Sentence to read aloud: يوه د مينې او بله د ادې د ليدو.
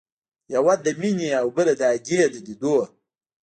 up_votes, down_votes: 1, 2